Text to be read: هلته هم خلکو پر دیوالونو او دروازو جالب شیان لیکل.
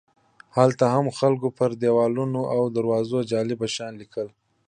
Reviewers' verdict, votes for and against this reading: accepted, 2, 1